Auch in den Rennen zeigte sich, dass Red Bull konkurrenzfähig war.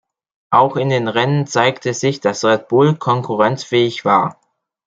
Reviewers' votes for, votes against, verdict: 2, 0, accepted